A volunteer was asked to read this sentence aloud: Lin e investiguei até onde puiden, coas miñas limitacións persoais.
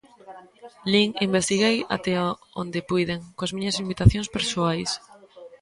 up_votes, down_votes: 1, 2